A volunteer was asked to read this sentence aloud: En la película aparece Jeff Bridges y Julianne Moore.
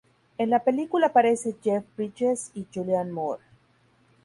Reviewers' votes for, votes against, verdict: 2, 2, rejected